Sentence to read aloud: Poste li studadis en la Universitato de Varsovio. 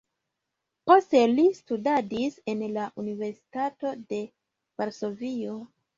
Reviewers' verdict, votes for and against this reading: accepted, 2, 0